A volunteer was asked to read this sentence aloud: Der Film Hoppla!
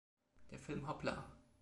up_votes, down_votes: 2, 0